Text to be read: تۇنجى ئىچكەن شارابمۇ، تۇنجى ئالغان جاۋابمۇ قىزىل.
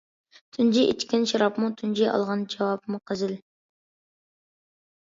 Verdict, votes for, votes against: accepted, 2, 0